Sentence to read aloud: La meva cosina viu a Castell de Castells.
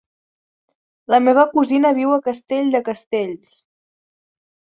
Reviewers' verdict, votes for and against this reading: accepted, 3, 0